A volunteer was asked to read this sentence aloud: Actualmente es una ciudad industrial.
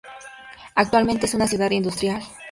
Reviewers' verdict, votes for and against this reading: accepted, 2, 0